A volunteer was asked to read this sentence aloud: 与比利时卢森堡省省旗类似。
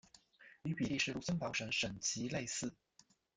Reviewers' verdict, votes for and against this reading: rejected, 0, 2